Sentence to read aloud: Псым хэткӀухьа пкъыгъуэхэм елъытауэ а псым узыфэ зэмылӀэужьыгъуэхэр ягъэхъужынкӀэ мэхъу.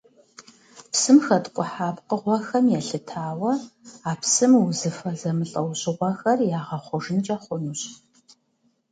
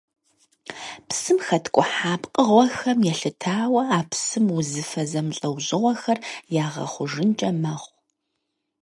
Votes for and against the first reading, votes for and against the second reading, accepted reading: 1, 2, 6, 0, second